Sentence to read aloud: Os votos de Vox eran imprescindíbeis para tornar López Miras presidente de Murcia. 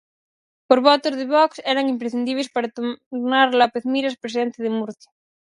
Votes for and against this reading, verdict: 2, 4, rejected